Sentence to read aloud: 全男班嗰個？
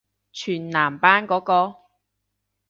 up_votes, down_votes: 2, 0